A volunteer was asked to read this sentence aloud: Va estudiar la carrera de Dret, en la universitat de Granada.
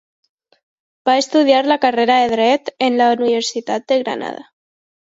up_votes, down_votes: 2, 0